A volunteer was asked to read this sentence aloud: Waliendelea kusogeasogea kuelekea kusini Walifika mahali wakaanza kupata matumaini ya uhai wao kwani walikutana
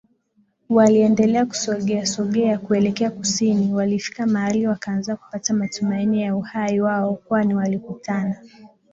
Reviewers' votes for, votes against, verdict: 7, 1, accepted